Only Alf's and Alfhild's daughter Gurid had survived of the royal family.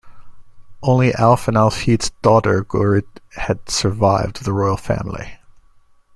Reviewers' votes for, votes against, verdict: 1, 2, rejected